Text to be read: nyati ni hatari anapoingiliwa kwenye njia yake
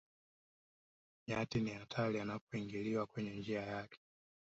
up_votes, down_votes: 3, 1